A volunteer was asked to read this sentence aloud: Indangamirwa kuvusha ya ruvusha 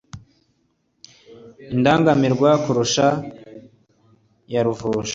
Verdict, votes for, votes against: accepted, 2, 0